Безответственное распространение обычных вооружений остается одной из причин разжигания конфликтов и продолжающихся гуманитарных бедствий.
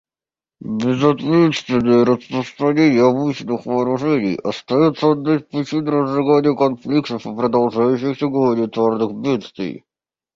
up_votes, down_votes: 0, 2